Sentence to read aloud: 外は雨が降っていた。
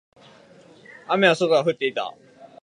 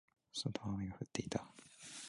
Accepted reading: first